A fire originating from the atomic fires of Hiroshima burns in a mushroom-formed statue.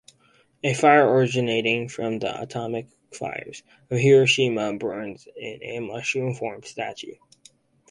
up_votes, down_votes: 4, 0